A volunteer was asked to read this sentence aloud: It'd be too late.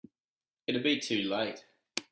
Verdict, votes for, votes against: accepted, 2, 0